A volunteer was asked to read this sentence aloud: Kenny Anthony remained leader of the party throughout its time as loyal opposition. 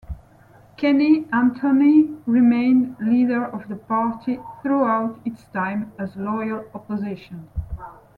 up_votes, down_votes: 2, 0